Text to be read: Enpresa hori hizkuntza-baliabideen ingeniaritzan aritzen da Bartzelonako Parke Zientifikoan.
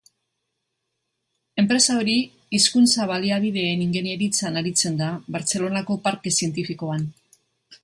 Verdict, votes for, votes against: accepted, 2, 0